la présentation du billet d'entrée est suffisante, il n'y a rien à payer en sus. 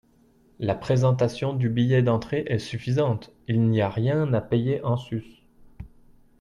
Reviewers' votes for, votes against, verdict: 2, 0, accepted